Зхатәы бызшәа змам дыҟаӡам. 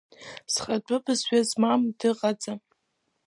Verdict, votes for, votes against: accepted, 2, 0